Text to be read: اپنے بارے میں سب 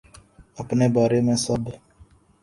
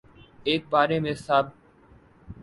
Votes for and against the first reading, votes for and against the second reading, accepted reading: 2, 0, 1, 2, first